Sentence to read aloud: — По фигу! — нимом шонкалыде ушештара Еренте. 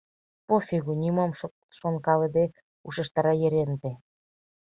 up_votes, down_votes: 1, 2